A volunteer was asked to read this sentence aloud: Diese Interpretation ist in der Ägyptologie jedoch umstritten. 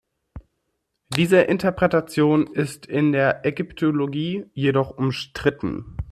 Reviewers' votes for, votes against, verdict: 2, 0, accepted